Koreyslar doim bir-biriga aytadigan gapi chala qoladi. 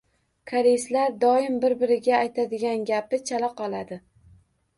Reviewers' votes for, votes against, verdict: 2, 0, accepted